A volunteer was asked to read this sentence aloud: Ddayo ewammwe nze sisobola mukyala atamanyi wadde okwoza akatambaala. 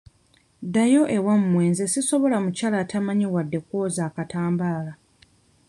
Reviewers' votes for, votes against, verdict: 1, 2, rejected